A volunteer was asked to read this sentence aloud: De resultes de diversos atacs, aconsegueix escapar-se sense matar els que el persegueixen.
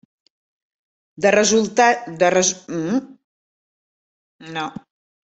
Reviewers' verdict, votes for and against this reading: rejected, 0, 2